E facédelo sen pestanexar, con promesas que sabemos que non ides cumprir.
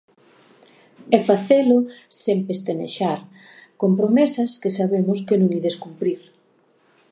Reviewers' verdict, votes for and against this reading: rejected, 1, 2